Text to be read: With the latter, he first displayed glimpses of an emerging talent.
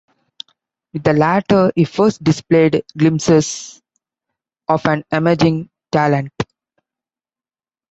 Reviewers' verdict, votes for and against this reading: rejected, 1, 2